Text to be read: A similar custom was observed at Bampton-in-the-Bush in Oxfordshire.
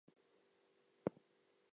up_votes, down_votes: 0, 2